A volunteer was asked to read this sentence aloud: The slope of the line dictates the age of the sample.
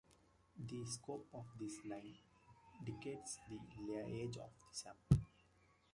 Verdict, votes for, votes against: rejected, 0, 2